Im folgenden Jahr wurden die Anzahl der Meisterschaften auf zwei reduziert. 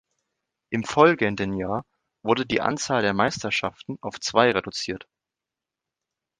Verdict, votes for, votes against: accepted, 2, 0